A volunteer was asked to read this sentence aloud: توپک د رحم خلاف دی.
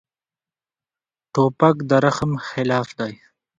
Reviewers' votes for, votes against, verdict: 2, 0, accepted